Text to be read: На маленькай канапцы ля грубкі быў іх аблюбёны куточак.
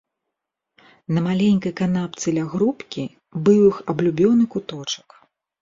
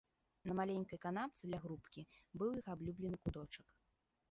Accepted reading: first